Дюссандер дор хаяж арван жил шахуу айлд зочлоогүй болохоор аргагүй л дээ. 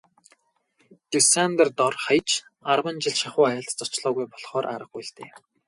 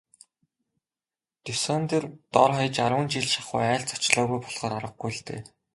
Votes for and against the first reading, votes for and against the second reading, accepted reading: 2, 2, 3, 0, second